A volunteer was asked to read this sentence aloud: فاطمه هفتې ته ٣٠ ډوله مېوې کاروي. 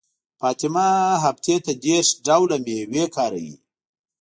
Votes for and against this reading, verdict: 0, 2, rejected